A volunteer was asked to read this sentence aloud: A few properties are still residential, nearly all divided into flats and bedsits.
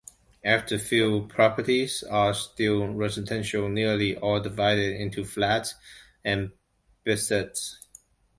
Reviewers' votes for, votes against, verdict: 1, 2, rejected